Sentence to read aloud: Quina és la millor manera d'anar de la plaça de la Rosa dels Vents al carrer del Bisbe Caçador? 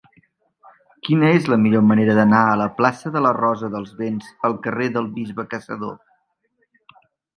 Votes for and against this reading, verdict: 0, 2, rejected